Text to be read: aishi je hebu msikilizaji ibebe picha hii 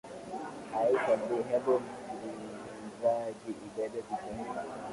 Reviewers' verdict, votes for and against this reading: rejected, 0, 2